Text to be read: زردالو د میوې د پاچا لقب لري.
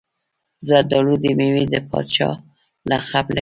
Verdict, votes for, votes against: accepted, 2, 1